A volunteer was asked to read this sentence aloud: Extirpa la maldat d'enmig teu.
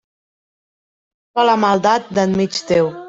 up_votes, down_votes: 0, 2